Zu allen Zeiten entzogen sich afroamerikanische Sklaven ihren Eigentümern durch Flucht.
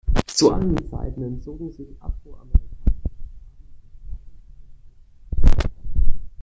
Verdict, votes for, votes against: rejected, 0, 2